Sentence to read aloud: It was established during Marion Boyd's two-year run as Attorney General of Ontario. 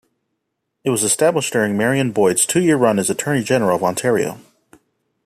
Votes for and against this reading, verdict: 2, 0, accepted